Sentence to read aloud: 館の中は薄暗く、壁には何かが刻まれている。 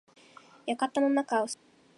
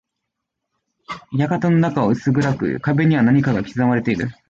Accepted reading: second